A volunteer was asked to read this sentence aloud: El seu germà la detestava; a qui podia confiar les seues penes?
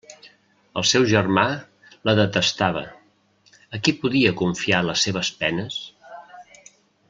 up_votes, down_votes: 1, 2